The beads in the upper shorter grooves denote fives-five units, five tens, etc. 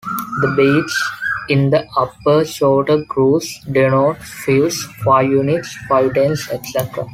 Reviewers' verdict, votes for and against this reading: rejected, 1, 2